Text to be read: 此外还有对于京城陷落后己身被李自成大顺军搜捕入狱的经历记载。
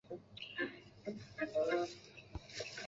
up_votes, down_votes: 0, 3